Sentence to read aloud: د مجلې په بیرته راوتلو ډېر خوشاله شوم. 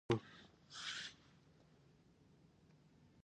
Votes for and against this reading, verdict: 1, 2, rejected